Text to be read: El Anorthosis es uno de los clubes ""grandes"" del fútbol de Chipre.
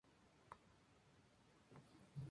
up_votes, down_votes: 0, 2